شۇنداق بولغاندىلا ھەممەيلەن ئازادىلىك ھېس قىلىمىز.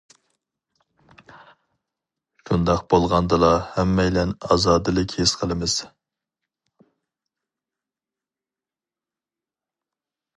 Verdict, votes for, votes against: rejected, 0, 2